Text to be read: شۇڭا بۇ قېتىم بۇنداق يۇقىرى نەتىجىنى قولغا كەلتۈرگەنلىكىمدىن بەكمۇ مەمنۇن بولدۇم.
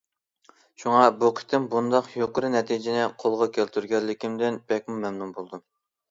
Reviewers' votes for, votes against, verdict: 2, 0, accepted